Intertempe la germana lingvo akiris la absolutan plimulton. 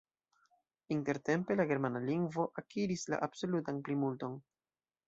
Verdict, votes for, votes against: rejected, 1, 2